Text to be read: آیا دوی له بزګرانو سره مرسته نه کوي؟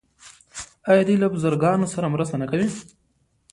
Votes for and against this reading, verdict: 0, 2, rejected